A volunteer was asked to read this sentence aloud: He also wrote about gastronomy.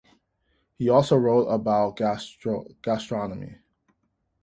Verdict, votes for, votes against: rejected, 0, 2